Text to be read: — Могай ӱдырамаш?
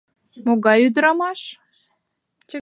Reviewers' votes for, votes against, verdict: 0, 2, rejected